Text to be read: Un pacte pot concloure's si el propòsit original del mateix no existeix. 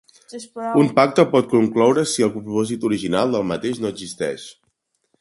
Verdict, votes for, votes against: rejected, 0, 2